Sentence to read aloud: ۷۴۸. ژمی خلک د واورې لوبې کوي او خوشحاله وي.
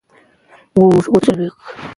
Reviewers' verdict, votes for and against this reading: rejected, 0, 2